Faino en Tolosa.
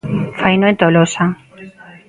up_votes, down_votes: 1, 2